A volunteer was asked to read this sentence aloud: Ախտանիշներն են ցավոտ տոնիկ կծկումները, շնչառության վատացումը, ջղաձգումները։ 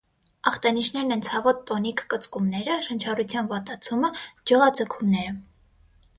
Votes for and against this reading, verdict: 6, 0, accepted